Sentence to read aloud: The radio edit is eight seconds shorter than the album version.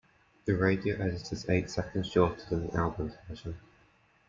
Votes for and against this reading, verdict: 2, 1, accepted